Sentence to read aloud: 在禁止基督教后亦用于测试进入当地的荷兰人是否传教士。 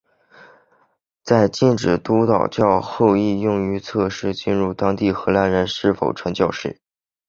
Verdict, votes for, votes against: rejected, 0, 3